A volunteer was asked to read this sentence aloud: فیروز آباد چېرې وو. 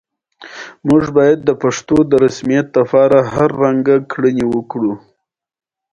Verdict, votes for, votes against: accepted, 2, 0